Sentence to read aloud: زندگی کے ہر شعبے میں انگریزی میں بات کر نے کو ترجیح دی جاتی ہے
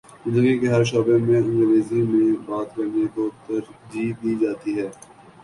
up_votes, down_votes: 3, 0